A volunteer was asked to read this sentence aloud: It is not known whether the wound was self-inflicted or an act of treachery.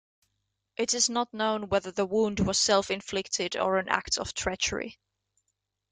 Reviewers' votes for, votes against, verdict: 2, 0, accepted